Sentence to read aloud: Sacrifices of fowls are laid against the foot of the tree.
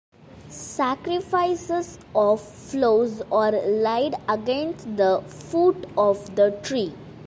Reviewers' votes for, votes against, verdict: 0, 3, rejected